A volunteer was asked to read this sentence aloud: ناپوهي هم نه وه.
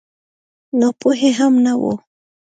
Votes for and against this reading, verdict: 2, 0, accepted